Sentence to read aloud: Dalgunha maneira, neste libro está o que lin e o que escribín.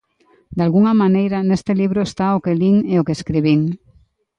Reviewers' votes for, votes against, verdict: 2, 0, accepted